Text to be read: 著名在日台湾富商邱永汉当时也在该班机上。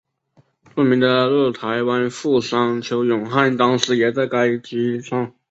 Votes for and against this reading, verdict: 0, 2, rejected